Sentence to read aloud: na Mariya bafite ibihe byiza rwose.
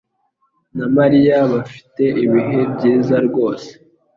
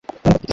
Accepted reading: first